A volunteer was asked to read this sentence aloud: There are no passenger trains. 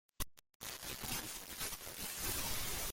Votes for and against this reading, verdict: 0, 2, rejected